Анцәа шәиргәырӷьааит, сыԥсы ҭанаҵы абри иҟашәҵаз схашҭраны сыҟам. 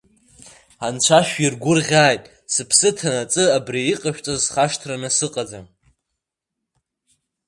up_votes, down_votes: 2, 0